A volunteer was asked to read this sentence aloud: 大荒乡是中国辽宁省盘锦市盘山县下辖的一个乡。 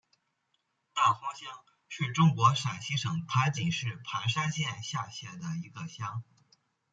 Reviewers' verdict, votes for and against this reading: rejected, 0, 2